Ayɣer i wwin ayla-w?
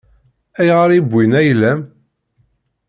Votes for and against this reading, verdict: 1, 2, rejected